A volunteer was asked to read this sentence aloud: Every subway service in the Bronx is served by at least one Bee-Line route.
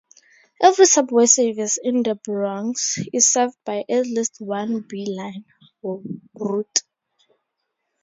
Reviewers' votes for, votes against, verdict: 0, 4, rejected